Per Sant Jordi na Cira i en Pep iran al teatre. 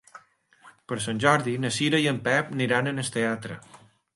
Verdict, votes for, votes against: rejected, 0, 2